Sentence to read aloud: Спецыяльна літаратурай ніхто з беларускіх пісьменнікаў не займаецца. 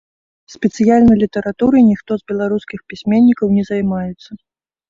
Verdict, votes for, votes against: accepted, 2, 0